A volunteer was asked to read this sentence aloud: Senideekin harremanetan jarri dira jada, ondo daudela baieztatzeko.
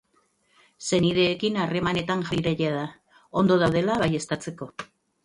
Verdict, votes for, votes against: rejected, 0, 2